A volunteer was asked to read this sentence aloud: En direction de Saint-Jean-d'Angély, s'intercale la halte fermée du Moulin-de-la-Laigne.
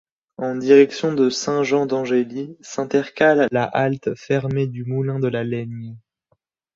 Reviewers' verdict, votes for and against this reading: accepted, 2, 0